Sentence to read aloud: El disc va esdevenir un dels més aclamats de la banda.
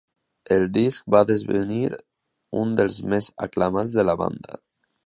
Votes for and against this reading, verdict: 0, 2, rejected